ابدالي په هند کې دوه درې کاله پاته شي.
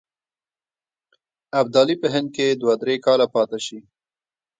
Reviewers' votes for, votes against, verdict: 2, 3, rejected